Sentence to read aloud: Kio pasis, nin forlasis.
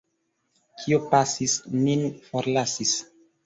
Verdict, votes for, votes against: rejected, 1, 2